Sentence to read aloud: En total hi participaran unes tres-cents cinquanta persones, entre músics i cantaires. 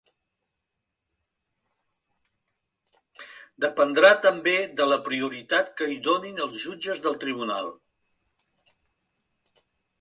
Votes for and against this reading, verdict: 0, 2, rejected